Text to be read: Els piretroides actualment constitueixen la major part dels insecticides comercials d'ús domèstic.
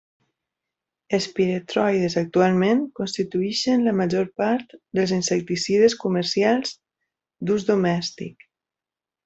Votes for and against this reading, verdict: 0, 2, rejected